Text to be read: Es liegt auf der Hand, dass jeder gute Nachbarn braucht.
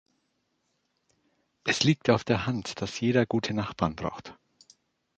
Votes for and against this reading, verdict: 2, 0, accepted